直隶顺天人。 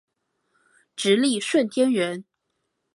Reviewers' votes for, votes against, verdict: 4, 1, accepted